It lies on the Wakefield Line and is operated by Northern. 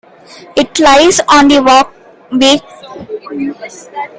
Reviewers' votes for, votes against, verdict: 0, 2, rejected